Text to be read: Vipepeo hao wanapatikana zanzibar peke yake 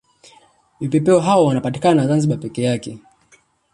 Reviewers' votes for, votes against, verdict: 3, 2, accepted